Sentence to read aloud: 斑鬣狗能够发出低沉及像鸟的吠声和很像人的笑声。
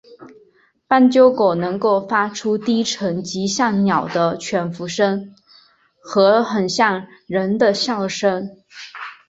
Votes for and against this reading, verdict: 2, 0, accepted